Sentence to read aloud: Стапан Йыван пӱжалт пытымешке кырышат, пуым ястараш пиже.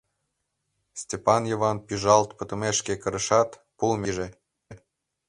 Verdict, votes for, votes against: rejected, 1, 2